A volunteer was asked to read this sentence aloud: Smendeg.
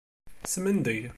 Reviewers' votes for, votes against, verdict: 2, 0, accepted